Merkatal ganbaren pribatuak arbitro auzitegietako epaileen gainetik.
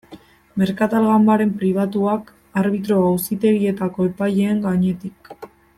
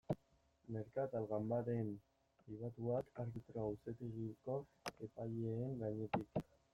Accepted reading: first